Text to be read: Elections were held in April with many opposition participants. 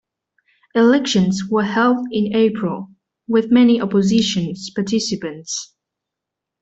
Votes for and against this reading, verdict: 1, 2, rejected